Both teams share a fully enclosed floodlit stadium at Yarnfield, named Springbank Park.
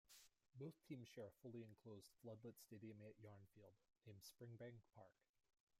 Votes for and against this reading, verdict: 0, 2, rejected